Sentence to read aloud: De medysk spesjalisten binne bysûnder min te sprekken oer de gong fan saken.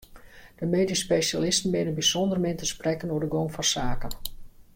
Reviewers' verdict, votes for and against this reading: accepted, 2, 0